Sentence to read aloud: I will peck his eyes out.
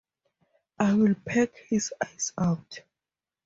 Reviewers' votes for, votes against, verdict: 2, 0, accepted